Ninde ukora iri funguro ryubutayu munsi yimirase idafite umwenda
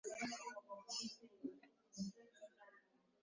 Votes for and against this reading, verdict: 1, 2, rejected